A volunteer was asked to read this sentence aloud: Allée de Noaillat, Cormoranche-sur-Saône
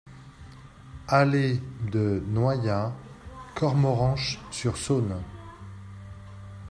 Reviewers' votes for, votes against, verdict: 1, 2, rejected